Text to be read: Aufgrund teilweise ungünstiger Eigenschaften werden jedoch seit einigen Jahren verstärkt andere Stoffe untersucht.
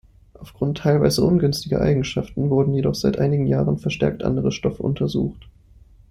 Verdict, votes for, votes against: rejected, 0, 2